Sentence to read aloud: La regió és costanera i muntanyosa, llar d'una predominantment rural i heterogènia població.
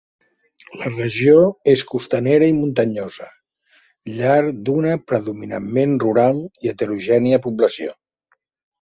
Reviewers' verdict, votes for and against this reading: accepted, 2, 0